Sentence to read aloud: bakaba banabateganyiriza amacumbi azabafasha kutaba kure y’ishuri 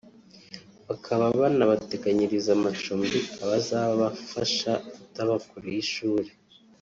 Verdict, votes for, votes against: rejected, 0, 2